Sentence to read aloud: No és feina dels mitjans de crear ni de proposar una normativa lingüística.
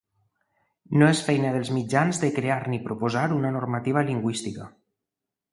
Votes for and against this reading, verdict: 1, 2, rejected